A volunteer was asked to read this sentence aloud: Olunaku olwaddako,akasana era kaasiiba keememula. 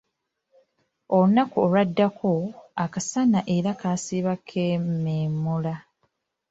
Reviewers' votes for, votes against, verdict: 1, 2, rejected